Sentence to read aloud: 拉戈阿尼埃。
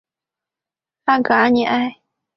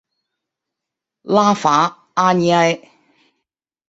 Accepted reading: first